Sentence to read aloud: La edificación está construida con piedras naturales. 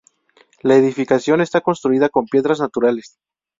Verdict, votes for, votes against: accepted, 2, 0